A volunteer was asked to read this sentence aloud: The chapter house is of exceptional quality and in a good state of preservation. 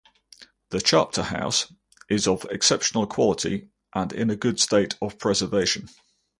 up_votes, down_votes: 2, 0